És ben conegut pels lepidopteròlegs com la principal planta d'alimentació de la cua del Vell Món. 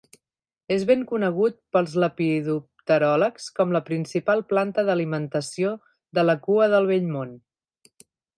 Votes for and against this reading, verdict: 3, 0, accepted